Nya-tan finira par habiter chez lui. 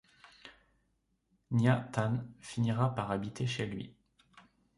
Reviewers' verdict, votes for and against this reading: accepted, 2, 0